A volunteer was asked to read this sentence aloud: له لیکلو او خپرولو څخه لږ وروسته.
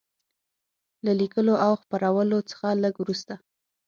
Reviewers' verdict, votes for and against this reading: accepted, 6, 0